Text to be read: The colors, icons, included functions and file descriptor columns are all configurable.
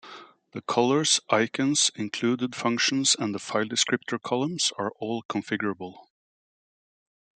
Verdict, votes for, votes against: rejected, 0, 2